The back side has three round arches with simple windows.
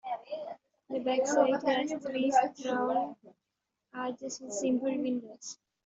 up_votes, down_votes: 1, 2